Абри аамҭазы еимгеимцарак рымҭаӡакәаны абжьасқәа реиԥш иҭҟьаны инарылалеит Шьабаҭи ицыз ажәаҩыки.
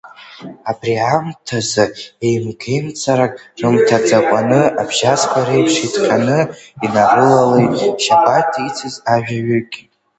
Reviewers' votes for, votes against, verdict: 0, 2, rejected